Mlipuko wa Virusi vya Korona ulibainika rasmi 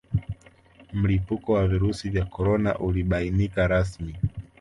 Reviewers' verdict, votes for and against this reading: accepted, 2, 1